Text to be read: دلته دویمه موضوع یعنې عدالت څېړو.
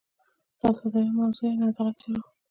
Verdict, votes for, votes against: accepted, 2, 0